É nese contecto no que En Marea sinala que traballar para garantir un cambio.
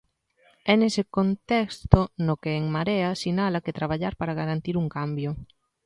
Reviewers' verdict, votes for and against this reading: rejected, 0, 2